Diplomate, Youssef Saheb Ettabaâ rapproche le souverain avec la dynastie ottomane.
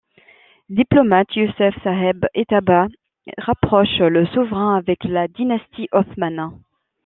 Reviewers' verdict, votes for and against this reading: rejected, 0, 2